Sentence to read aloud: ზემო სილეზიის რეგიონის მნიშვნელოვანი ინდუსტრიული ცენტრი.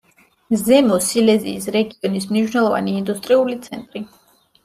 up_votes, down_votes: 2, 0